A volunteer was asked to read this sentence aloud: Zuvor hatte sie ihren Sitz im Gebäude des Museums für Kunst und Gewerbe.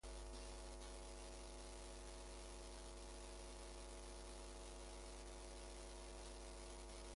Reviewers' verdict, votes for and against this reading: rejected, 0, 2